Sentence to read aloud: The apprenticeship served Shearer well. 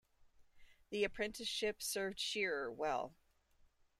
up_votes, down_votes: 2, 0